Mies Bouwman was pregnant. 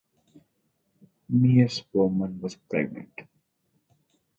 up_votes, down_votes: 4, 0